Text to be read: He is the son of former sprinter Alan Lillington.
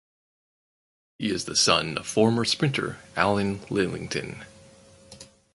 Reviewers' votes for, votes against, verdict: 4, 0, accepted